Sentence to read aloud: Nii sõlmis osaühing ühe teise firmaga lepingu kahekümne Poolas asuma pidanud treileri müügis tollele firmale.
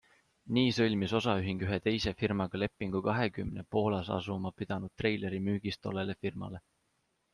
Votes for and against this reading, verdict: 2, 0, accepted